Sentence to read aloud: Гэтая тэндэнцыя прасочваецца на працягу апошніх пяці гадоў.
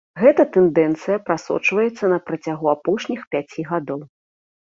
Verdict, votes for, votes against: accepted, 2, 0